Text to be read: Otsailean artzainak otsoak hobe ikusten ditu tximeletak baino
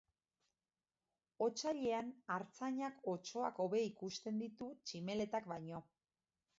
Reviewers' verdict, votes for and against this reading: accepted, 2, 0